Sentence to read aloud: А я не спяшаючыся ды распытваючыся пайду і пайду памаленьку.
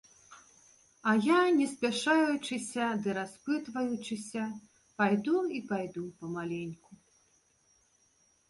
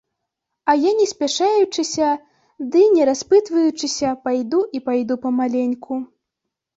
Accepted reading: first